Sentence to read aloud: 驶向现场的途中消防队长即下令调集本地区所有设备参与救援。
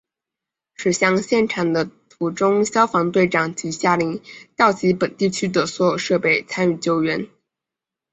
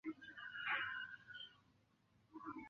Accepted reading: first